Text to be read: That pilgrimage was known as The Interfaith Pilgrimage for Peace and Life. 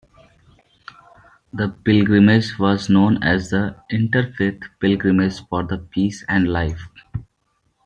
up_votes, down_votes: 0, 2